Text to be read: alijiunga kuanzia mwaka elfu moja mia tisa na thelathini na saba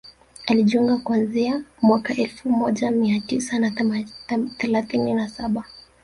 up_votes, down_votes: 1, 2